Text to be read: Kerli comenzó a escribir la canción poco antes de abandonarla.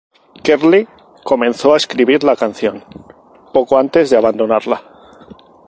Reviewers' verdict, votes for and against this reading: rejected, 2, 2